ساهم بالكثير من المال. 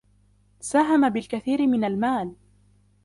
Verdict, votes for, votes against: accepted, 2, 0